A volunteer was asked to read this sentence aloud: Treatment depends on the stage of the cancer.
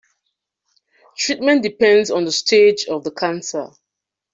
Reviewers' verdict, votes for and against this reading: accepted, 2, 0